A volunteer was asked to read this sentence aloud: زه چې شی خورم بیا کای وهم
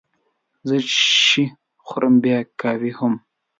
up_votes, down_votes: 0, 2